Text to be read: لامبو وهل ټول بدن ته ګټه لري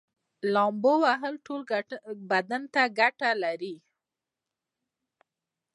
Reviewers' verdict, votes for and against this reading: accepted, 2, 0